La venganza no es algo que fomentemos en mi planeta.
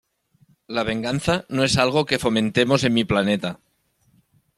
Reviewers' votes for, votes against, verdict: 2, 0, accepted